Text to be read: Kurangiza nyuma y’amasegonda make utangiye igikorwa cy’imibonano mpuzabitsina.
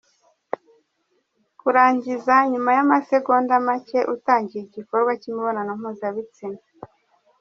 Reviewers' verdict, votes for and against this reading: rejected, 1, 2